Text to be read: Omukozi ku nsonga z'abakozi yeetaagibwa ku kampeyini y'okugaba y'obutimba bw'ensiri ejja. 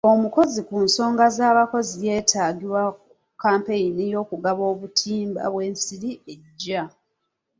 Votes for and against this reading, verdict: 1, 2, rejected